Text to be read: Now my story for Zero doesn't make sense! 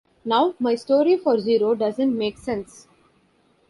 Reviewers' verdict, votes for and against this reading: accepted, 2, 0